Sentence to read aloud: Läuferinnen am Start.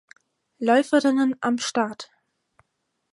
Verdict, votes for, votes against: accepted, 4, 2